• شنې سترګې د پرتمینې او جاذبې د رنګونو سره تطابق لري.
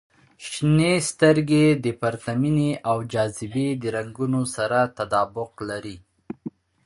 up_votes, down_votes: 3, 0